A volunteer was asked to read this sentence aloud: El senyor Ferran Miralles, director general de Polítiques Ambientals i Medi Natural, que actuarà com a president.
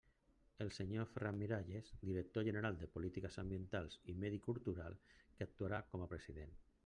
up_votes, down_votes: 0, 2